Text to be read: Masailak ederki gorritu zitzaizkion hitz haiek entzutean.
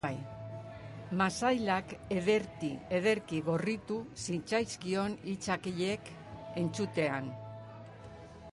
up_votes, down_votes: 3, 1